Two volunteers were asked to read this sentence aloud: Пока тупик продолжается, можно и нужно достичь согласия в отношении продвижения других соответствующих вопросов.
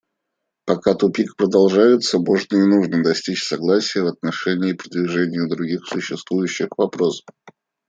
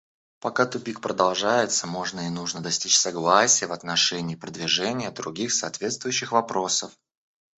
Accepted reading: second